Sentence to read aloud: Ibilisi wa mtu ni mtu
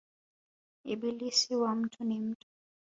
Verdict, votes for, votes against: accepted, 2, 0